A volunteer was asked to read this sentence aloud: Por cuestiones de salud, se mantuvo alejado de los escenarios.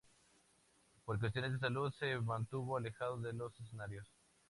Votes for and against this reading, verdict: 2, 0, accepted